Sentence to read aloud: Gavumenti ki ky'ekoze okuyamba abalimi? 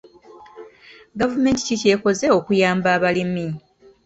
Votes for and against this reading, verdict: 1, 2, rejected